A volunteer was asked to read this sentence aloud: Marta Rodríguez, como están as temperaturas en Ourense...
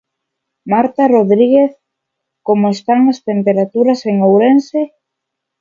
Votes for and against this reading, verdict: 2, 0, accepted